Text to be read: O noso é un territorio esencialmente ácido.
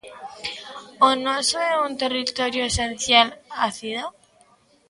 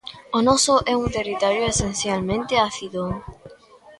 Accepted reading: second